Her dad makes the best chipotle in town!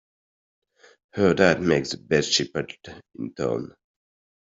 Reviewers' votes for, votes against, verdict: 2, 1, accepted